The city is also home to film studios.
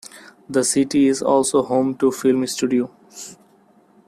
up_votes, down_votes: 2, 0